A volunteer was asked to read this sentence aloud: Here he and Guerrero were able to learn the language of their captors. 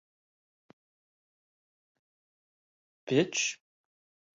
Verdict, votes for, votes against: rejected, 0, 2